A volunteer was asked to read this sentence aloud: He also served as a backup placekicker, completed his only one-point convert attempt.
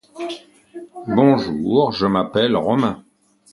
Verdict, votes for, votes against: rejected, 0, 2